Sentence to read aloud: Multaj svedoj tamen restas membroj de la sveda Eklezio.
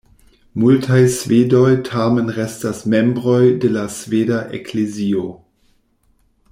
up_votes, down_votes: 1, 2